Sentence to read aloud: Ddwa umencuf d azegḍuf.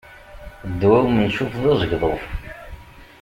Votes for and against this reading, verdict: 2, 1, accepted